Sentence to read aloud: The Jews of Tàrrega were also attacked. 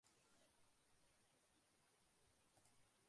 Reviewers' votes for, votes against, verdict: 0, 2, rejected